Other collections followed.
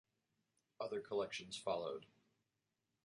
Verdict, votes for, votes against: accepted, 2, 0